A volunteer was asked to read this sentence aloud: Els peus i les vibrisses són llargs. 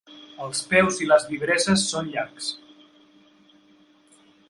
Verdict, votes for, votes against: rejected, 1, 2